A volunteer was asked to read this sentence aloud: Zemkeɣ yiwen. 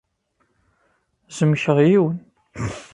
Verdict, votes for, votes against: rejected, 0, 2